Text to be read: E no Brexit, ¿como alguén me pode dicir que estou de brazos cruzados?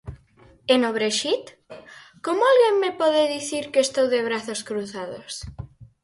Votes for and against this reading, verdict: 4, 0, accepted